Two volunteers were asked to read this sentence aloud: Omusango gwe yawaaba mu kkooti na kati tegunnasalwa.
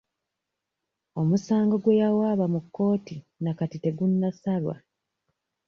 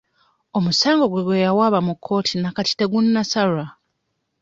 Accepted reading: first